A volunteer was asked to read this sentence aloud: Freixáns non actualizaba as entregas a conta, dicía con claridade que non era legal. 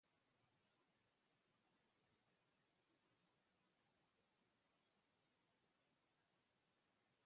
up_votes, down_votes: 0, 2